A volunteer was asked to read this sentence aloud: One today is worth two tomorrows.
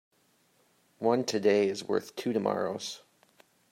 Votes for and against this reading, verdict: 2, 0, accepted